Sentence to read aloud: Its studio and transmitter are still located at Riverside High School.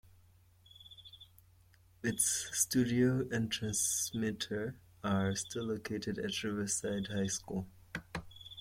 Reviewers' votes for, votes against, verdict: 2, 0, accepted